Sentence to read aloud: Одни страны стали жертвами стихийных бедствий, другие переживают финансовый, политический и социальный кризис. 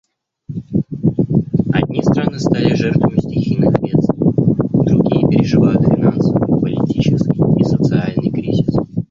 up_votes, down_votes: 1, 2